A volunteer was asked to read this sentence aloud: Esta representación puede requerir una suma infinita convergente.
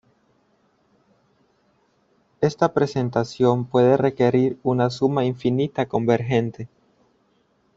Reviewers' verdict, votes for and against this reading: rejected, 0, 2